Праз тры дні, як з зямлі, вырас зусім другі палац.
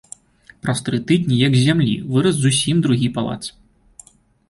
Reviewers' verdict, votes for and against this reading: rejected, 1, 2